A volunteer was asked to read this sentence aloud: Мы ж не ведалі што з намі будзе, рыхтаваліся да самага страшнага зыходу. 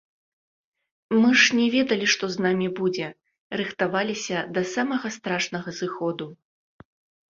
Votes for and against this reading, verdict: 2, 0, accepted